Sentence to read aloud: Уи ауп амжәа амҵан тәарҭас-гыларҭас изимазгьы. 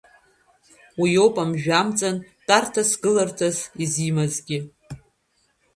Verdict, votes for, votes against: rejected, 0, 2